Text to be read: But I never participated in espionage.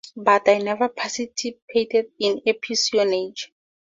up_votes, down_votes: 2, 0